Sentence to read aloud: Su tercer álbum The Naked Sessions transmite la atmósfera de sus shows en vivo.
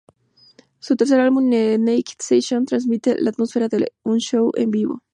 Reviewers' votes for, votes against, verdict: 2, 2, rejected